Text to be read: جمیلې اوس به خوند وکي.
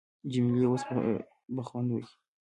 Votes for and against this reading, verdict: 0, 2, rejected